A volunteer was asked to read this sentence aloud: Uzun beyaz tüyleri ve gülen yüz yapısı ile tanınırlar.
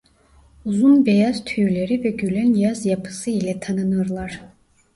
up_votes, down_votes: 1, 2